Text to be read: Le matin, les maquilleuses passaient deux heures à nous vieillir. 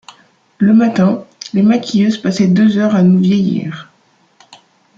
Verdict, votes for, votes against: accepted, 2, 0